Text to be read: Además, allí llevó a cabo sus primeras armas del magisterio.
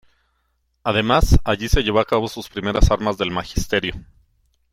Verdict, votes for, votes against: rejected, 0, 2